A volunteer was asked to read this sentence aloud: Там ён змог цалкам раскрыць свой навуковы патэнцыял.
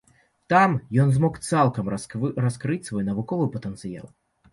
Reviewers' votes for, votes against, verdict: 0, 2, rejected